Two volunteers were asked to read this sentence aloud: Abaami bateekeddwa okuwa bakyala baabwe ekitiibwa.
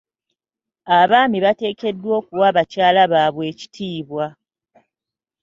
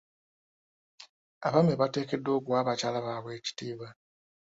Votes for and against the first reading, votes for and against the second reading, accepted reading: 2, 0, 1, 2, first